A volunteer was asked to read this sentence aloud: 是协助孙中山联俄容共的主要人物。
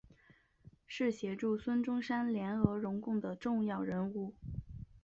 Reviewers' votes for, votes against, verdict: 2, 3, rejected